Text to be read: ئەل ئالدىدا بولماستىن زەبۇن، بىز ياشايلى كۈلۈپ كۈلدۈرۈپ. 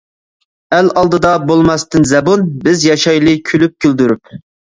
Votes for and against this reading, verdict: 2, 0, accepted